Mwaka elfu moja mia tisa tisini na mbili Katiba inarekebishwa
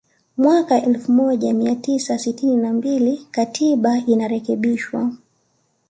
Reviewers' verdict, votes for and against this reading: rejected, 1, 2